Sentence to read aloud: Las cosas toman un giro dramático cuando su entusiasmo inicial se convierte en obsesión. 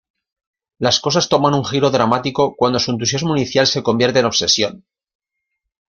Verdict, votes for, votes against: accepted, 2, 0